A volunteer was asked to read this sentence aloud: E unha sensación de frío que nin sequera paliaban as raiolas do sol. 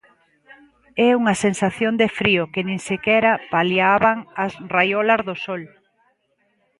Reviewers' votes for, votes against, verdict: 2, 0, accepted